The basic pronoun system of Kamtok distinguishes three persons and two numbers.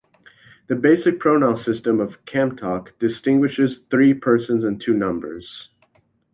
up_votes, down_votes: 2, 0